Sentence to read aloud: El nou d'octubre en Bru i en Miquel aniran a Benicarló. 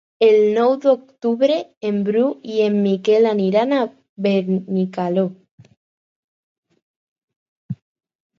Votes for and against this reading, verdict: 0, 2, rejected